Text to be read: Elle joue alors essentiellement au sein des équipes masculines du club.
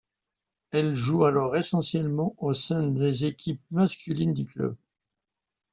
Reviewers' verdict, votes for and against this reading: accepted, 2, 0